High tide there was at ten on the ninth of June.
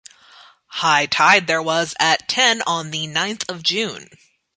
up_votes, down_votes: 2, 0